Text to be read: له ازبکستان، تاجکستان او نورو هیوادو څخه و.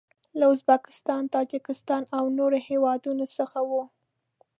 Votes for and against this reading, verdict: 2, 0, accepted